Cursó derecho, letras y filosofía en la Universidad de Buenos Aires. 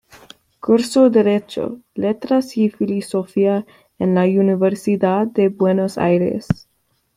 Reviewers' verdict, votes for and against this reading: accepted, 2, 1